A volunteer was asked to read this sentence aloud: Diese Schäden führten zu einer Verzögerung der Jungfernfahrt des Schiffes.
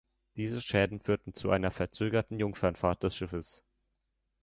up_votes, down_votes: 1, 2